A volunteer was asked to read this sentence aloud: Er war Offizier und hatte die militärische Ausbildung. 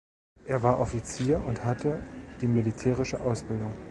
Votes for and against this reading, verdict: 2, 0, accepted